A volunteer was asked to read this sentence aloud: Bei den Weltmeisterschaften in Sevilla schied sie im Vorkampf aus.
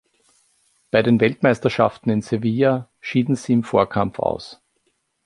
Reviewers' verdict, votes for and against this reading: rejected, 1, 2